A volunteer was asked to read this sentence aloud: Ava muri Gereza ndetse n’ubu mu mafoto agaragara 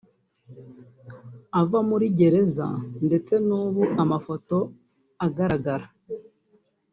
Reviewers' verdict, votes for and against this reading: rejected, 1, 2